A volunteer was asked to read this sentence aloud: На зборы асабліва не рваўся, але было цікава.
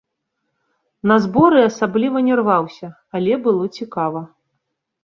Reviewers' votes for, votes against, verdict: 2, 0, accepted